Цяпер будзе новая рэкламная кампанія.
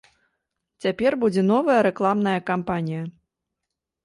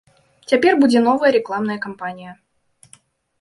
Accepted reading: first